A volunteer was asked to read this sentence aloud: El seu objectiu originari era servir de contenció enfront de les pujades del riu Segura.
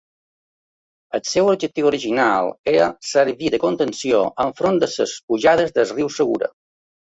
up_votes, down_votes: 2, 1